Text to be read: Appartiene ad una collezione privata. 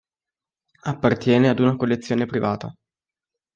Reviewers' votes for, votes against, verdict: 3, 0, accepted